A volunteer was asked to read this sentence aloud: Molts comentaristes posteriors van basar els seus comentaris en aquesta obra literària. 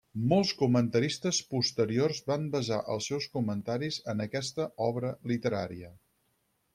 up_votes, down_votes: 6, 0